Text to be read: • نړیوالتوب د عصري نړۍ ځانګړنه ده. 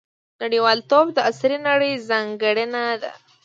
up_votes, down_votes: 2, 0